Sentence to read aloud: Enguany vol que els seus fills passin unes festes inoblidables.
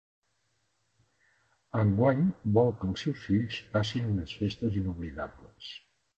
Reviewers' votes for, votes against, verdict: 1, 2, rejected